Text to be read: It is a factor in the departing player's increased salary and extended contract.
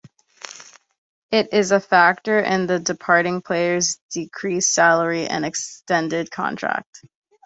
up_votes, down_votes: 0, 2